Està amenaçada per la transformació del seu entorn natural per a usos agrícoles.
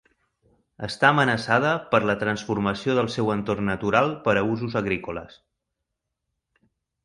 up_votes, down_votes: 3, 0